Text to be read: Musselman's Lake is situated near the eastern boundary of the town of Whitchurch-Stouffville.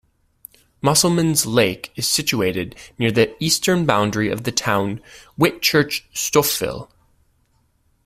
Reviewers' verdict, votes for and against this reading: rejected, 0, 2